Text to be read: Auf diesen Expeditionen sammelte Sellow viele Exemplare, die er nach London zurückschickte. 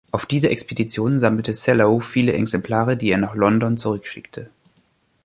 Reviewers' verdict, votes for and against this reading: rejected, 0, 2